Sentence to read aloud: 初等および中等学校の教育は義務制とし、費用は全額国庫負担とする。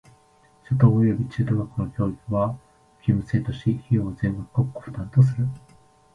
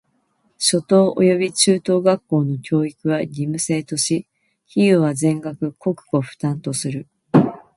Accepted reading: second